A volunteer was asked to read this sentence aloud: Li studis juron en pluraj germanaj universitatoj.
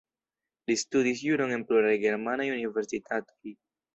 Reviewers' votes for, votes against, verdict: 3, 0, accepted